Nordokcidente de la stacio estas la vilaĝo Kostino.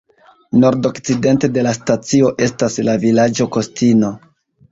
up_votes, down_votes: 2, 0